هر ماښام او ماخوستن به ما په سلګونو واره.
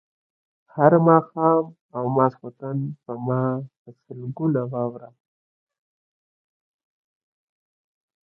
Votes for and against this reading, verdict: 0, 2, rejected